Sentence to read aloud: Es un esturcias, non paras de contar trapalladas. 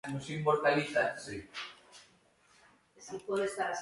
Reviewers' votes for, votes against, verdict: 0, 2, rejected